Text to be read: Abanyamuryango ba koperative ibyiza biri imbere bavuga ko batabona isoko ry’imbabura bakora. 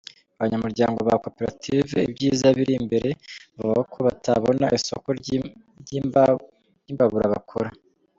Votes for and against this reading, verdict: 1, 2, rejected